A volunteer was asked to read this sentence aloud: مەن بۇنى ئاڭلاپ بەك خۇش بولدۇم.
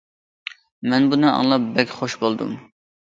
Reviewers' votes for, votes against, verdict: 2, 0, accepted